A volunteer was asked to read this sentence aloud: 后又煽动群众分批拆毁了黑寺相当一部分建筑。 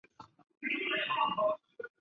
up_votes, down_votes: 3, 5